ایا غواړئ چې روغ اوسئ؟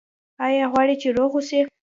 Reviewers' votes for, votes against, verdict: 0, 2, rejected